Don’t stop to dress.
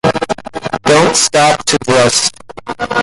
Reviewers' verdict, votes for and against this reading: rejected, 0, 2